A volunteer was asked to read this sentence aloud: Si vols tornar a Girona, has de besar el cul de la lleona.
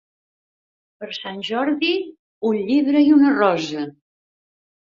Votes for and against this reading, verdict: 0, 2, rejected